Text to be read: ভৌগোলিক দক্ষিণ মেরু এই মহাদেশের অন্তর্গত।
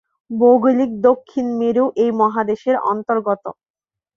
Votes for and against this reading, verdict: 4, 1, accepted